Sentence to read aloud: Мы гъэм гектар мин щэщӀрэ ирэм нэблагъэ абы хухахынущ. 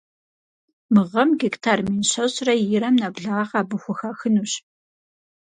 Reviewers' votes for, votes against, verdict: 4, 0, accepted